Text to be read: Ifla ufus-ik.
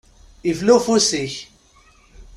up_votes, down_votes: 2, 0